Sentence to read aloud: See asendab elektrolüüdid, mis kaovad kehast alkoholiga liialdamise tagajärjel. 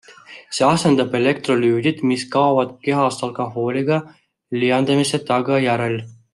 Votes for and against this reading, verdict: 1, 2, rejected